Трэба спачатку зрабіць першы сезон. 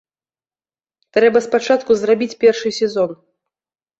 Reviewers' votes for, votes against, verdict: 2, 0, accepted